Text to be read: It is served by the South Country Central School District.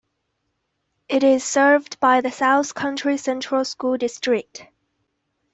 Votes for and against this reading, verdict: 2, 0, accepted